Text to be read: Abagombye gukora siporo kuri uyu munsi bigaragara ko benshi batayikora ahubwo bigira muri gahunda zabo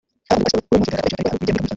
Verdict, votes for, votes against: rejected, 0, 2